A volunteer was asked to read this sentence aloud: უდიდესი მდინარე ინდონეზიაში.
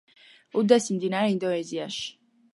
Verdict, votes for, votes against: rejected, 1, 2